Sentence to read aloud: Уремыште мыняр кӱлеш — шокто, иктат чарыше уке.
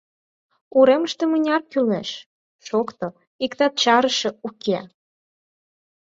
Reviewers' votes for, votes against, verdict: 4, 0, accepted